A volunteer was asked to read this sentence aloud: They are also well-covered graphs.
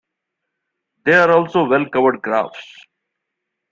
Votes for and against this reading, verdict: 1, 2, rejected